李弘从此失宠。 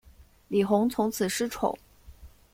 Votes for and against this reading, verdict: 2, 0, accepted